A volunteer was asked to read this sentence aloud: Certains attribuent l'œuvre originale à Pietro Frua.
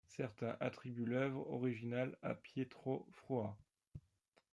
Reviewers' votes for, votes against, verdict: 2, 0, accepted